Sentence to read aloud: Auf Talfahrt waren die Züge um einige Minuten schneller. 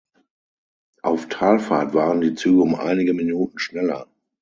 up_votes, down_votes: 6, 0